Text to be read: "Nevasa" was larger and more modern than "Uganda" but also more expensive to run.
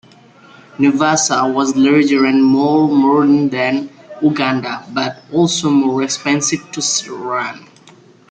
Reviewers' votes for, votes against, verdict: 0, 2, rejected